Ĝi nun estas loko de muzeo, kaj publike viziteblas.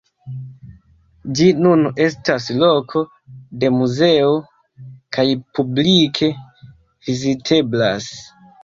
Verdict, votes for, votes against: accepted, 2, 1